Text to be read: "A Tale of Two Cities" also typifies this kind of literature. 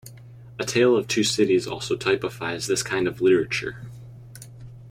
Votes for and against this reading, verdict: 2, 0, accepted